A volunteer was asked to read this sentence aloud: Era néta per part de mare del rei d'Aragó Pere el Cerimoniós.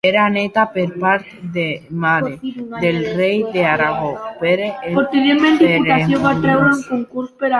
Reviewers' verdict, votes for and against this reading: rejected, 1, 2